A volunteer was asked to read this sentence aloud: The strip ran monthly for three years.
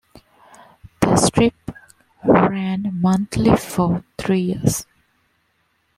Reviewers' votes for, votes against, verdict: 0, 2, rejected